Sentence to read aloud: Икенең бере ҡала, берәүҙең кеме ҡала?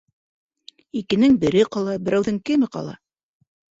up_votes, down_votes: 3, 0